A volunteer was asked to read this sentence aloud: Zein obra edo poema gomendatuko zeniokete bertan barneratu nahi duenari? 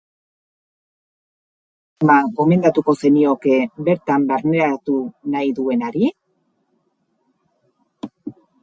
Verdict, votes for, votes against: rejected, 0, 2